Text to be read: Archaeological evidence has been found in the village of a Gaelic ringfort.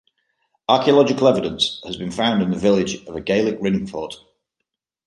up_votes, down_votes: 2, 0